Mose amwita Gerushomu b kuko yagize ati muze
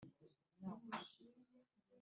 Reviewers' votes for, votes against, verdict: 1, 3, rejected